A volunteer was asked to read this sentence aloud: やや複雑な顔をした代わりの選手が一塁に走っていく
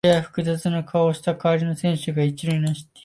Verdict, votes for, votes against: rejected, 1, 2